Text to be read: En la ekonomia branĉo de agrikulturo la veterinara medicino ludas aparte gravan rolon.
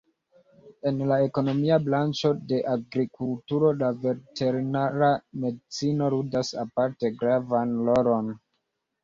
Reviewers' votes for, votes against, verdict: 1, 2, rejected